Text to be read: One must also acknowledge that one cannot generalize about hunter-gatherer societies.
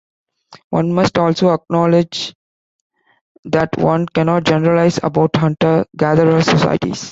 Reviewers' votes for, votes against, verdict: 2, 0, accepted